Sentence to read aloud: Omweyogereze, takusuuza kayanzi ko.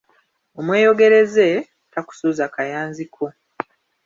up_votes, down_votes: 2, 0